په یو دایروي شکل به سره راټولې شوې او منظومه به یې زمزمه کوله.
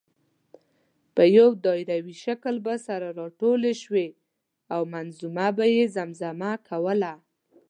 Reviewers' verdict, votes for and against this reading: accepted, 2, 0